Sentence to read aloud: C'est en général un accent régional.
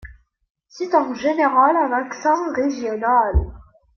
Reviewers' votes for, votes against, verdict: 2, 1, accepted